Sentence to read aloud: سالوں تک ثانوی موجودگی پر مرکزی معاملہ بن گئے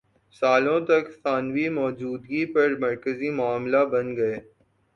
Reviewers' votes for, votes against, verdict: 16, 0, accepted